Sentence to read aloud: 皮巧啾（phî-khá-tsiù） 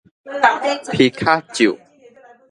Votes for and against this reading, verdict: 1, 2, rejected